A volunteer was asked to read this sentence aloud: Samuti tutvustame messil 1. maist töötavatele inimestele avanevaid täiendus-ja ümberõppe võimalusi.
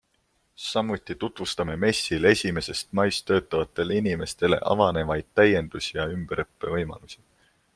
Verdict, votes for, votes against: rejected, 0, 2